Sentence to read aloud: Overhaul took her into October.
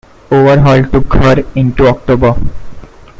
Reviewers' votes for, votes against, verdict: 1, 2, rejected